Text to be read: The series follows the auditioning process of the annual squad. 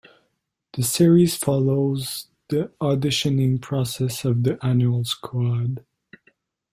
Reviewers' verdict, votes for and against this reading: accepted, 2, 0